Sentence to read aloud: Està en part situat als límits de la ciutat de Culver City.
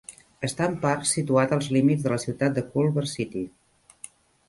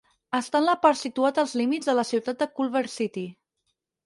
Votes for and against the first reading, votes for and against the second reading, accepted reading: 3, 0, 2, 4, first